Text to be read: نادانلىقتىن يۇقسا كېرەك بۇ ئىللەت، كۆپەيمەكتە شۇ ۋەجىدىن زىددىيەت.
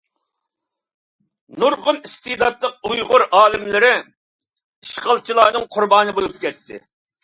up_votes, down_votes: 0, 2